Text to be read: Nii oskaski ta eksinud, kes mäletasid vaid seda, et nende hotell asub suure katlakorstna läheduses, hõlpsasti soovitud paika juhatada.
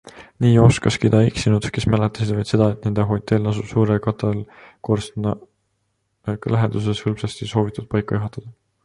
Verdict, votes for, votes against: rejected, 0, 3